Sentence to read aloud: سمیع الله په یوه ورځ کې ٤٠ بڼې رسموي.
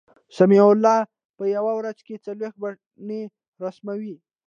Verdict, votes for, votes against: rejected, 0, 2